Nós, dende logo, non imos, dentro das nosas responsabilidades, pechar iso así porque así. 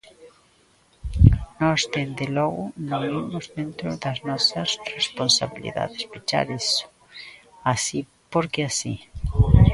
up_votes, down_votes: 0, 2